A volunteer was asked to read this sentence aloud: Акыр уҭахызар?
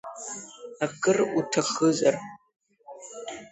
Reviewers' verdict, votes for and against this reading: accepted, 2, 0